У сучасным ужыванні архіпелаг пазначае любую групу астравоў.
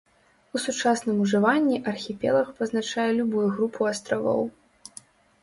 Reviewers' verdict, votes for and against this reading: rejected, 1, 2